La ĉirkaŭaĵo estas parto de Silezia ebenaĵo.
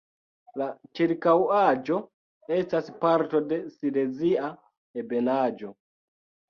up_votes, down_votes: 0, 2